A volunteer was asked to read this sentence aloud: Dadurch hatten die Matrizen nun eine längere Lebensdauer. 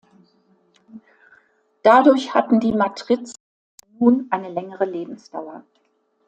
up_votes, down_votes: 0, 2